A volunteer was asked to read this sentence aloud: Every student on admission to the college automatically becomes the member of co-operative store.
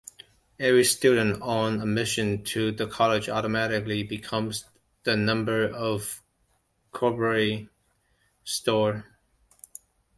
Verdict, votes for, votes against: rejected, 1, 2